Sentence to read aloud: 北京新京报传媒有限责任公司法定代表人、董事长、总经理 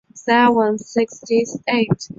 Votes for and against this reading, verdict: 0, 2, rejected